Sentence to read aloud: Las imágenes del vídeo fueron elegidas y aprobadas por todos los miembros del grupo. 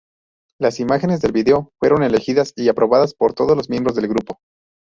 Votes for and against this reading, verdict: 0, 2, rejected